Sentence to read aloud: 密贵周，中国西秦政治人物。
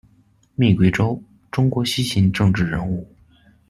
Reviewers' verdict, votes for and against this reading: accepted, 2, 0